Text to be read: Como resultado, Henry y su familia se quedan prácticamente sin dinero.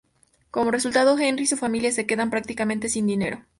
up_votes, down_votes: 2, 0